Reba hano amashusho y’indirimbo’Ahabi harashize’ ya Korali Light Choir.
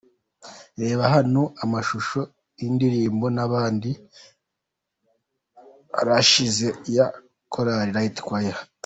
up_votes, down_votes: 0, 2